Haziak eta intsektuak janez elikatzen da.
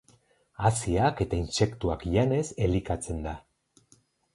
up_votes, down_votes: 2, 2